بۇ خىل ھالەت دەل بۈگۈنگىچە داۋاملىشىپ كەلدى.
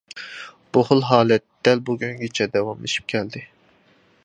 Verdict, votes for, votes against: accepted, 2, 0